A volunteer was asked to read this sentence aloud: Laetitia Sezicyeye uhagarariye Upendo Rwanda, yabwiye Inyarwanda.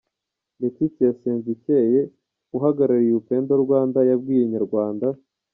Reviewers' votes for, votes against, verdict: 2, 0, accepted